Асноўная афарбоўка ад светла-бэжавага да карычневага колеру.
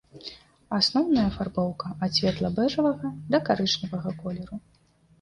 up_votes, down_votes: 2, 0